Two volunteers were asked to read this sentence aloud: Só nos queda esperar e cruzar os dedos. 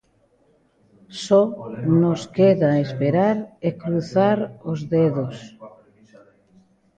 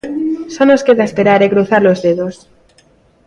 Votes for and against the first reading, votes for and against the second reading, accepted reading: 0, 2, 2, 0, second